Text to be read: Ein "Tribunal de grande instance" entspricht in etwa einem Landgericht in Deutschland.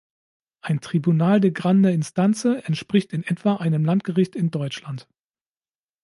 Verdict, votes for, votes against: rejected, 1, 2